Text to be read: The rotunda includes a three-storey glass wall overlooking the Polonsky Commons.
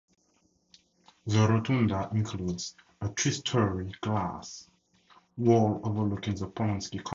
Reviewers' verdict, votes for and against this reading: rejected, 0, 4